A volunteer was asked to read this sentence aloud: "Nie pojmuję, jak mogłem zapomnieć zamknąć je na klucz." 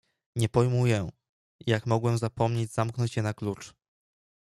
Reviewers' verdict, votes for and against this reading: accepted, 2, 0